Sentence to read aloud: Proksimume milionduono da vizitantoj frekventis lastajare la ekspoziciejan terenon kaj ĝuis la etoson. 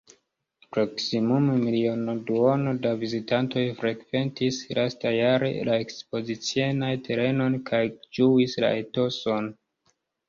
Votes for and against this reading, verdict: 0, 2, rejected